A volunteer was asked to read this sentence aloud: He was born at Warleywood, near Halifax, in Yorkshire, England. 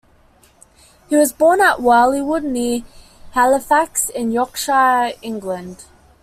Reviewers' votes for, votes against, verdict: 2, 0, accepted